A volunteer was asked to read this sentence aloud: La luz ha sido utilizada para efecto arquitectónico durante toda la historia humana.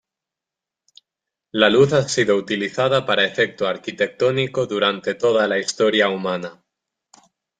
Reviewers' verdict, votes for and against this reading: accepted, 2, 0